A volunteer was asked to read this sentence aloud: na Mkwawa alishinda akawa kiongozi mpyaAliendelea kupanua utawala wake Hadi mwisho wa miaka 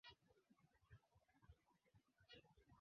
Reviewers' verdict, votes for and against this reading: rejected, 0, 2